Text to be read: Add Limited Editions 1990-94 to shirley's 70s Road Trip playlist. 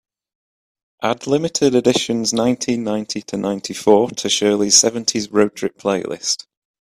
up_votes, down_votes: 0, 2